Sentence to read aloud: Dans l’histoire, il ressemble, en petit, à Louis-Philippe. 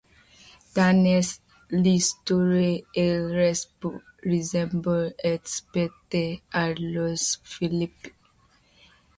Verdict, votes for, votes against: rejected, 0, 2